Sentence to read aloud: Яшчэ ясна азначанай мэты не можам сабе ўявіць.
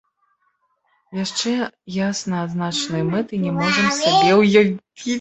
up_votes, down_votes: 0, 3